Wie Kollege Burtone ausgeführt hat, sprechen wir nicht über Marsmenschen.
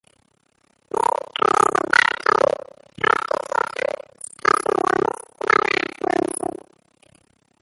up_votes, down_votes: 0, 2